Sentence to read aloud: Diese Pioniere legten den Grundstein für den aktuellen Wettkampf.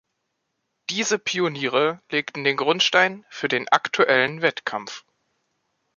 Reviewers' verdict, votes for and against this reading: accepted, 3, 0